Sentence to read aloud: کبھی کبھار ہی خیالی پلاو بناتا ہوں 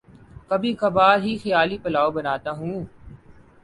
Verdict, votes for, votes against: accepted, 5, 0